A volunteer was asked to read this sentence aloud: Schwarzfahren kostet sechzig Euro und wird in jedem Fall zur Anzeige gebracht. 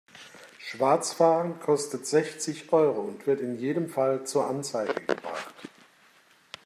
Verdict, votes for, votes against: accepted, 2, 0